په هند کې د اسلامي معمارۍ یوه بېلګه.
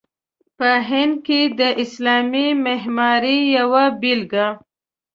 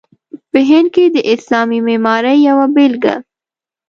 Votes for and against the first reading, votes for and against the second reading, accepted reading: 1, 2, 2, 0, second